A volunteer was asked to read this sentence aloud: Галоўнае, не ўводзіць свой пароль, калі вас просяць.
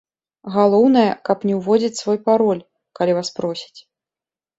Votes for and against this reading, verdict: 1, 2, rejected